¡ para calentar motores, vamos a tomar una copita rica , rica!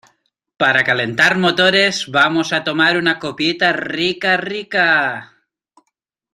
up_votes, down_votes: 2, 0